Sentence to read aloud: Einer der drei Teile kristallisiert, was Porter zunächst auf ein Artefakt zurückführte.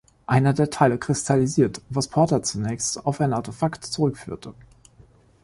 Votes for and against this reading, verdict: 0, 2, rejected